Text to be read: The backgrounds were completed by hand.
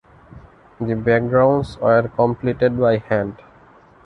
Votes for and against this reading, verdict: 2, 1, accepted